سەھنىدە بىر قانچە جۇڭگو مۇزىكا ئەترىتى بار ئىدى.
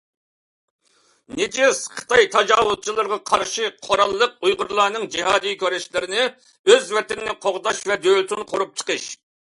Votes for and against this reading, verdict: 0, 2, rejected